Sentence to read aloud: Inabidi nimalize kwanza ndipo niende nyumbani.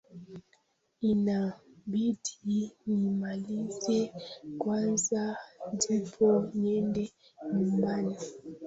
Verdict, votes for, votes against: rejected, 0, 2